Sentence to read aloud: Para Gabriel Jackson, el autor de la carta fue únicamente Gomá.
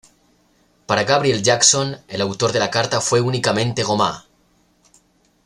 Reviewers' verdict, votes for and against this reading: accepted, 2, 0